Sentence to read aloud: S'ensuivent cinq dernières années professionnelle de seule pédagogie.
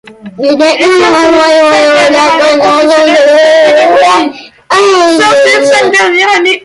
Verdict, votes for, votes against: rejected, 0, 2